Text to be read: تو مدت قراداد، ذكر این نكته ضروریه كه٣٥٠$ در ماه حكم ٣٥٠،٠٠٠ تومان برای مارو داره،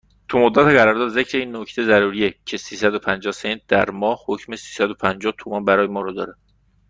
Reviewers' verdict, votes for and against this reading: rejected, 0, 2